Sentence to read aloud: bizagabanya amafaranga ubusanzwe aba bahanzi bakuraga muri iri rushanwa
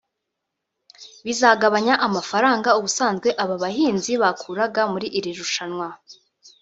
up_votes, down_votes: 1, 2